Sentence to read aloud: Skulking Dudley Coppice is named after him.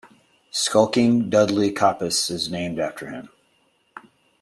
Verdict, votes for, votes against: accepted, 2, 0